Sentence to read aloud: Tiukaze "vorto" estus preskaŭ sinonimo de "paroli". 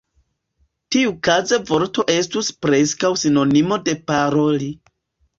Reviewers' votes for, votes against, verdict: 2, 0, accepted